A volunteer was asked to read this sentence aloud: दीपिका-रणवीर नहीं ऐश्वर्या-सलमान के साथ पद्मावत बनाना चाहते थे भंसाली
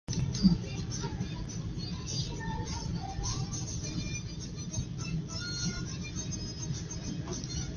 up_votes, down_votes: 0, 2